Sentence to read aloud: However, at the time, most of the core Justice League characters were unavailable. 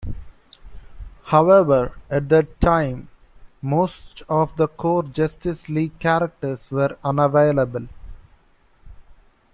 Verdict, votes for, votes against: rejected, 0, 2